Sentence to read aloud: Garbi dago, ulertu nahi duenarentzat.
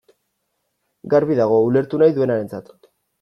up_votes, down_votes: 2, 0